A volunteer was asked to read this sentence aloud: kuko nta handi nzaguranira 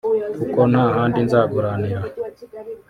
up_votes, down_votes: 0, 2